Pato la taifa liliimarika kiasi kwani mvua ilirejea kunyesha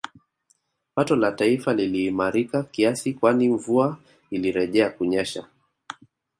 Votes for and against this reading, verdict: 3, 0, accepted